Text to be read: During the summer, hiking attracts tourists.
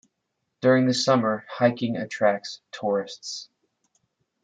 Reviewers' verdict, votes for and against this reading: rejected, 1, 2